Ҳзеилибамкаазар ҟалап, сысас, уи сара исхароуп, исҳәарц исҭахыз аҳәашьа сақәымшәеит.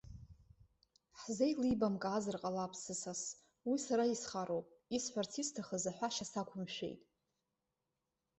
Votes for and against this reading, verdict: 2, 0, accepted